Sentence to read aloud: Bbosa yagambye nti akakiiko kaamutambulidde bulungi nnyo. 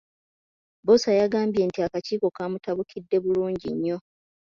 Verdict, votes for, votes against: rejected, 0, 2